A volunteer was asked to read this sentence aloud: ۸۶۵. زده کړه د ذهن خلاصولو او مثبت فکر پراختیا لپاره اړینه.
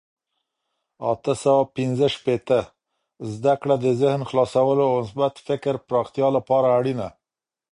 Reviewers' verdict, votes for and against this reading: rejected, 0, 2